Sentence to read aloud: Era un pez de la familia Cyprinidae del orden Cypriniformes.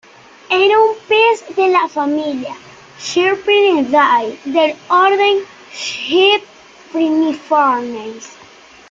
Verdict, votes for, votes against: rejected, 1, 2